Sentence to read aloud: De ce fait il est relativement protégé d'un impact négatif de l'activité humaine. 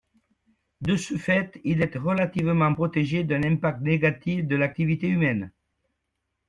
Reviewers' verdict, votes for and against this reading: accepted, 2, 0